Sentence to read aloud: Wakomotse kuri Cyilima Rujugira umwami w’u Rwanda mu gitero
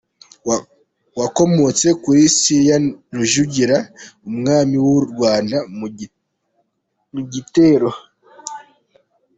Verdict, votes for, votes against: rejected, 0, 2